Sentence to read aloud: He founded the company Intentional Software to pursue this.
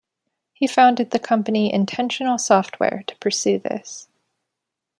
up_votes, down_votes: 2, 0